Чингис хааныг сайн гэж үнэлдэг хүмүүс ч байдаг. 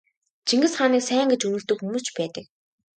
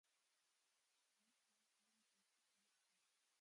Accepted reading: first